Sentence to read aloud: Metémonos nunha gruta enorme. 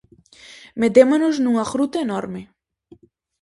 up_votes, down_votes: 4, 0